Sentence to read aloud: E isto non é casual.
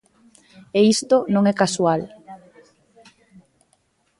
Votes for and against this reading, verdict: 0, 2, rejected